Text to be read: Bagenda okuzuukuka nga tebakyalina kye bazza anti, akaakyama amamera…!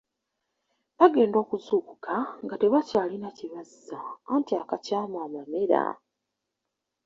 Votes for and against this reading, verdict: 0, 2, rejected